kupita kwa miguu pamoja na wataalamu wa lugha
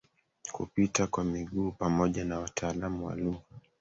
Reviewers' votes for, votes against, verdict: 2, 1, accepted